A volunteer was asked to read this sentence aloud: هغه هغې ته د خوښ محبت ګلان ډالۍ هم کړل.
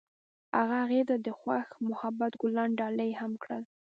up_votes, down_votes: 1, 2